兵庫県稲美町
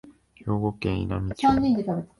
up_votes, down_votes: 1, 2